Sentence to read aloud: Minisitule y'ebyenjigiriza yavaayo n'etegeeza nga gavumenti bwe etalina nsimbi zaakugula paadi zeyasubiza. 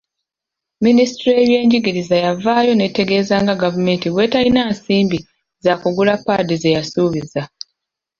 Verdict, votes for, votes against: accepted, 2, 0